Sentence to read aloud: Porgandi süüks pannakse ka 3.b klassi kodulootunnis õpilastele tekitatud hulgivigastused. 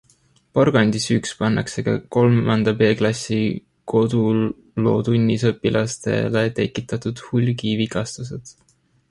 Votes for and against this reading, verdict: 0, 2, rejected